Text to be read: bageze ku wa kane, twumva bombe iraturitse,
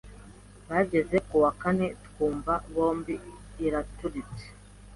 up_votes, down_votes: 0, 2